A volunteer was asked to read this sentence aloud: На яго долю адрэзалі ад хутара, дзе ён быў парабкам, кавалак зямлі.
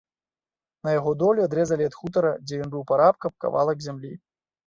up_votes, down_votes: 0, 2